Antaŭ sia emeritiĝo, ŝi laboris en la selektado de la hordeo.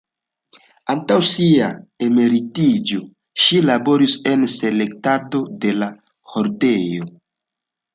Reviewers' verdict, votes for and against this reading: accepted, 2, 0